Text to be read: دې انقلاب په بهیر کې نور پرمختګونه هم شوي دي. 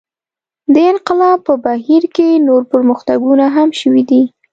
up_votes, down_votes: 2, 0